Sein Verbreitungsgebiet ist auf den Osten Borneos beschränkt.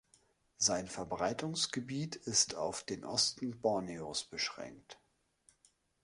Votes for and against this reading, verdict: 2, 0, accepted